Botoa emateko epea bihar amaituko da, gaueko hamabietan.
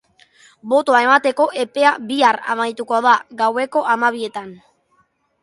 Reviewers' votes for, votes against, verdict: 2, 0, accepted